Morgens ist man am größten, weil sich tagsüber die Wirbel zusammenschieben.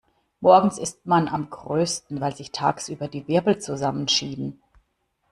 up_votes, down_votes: 2, 0